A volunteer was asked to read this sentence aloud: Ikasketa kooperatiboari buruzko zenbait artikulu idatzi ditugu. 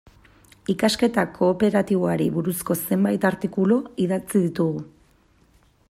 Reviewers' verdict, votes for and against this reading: accepted, 2, 0